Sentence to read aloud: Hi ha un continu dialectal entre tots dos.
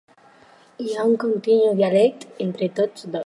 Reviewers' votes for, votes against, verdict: 2, 4, rejected